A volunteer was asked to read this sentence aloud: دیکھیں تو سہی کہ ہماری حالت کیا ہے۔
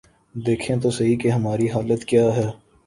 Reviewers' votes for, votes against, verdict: 2, 0, accepted